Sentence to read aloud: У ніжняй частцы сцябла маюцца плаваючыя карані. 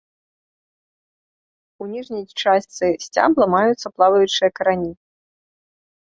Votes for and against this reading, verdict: 1, 2, rejected